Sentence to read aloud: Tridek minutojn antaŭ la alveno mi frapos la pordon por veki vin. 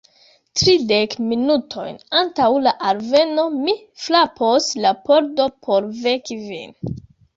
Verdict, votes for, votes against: rejected, 1, 2